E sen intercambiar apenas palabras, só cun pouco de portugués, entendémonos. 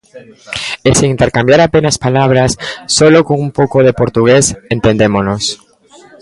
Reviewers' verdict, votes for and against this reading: rejected, 0, 2